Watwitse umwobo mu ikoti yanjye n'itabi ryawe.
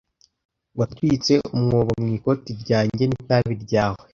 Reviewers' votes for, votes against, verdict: 1, 2, rejected